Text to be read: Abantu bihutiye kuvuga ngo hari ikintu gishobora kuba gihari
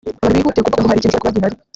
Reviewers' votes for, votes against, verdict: 1, 3, rejected